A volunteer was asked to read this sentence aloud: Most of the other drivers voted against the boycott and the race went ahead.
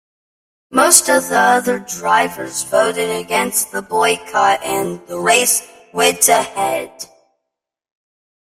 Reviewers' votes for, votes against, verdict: 0, 2, rejected